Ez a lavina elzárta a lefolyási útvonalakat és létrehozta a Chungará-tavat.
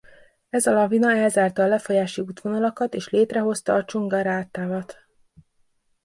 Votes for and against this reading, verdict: 2, 1, accepted